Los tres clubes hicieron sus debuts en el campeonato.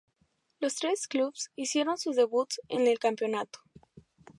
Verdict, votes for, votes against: rejected, 0, 2